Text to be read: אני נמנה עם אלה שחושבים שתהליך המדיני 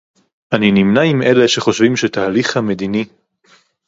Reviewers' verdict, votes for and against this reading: accepted, 2, 0